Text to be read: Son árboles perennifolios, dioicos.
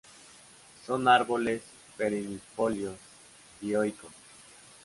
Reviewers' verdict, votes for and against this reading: rejected, 0, 3